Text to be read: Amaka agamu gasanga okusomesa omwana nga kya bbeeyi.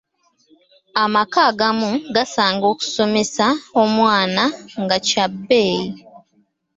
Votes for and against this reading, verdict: 2, 1, accepted